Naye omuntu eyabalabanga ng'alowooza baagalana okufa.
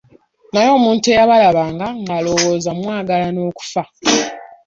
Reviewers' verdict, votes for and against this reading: rejected, 0, 2